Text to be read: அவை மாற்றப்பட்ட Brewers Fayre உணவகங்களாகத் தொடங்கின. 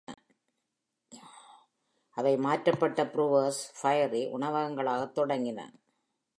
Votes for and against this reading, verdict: 2, 1, accepted